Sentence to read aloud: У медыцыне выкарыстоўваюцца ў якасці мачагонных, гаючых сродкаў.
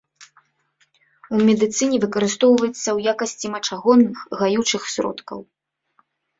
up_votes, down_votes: 1, 2